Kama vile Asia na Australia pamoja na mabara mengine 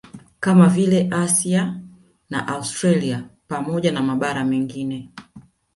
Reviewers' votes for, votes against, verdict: 1, 2, rejected